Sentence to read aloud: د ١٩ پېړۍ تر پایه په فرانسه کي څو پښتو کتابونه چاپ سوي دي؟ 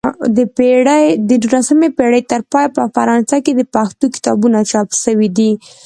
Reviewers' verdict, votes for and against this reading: rejected, 0, 2